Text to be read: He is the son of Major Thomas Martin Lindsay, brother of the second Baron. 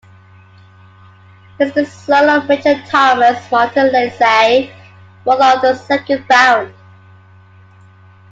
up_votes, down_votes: 1, 2